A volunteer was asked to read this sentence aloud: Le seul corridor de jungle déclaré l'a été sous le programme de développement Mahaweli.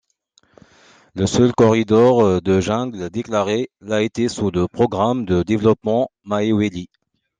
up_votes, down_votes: 2, 1